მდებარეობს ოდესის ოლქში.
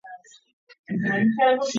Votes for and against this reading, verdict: 0, 2, rejected